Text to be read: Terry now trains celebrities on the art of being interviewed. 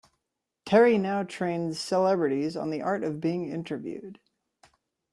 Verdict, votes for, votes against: accepted, 2, 0